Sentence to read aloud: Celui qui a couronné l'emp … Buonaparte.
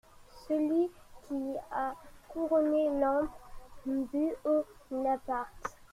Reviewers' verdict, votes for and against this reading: rejected, 0, 2